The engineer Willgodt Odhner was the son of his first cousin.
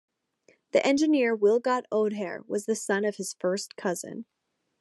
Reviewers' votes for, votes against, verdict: 0, 2, rejected